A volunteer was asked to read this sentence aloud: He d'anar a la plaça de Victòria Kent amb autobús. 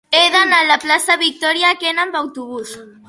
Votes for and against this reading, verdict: 1, 2, rejected